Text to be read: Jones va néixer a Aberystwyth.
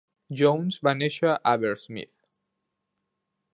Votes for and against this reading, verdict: 0, 2, rejected